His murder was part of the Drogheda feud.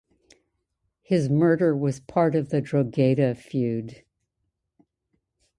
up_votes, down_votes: 2, 0